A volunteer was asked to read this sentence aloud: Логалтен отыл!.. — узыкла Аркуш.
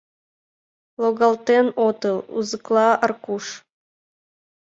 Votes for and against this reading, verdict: 2, 0, accepted